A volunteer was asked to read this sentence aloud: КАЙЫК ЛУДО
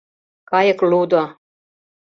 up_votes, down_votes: 2, 0